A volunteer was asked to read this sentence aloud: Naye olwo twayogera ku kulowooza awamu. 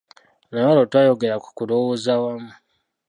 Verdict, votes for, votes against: rejected, 1, 2